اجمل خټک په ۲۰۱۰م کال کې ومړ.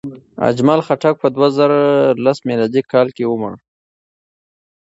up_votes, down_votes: 0, 2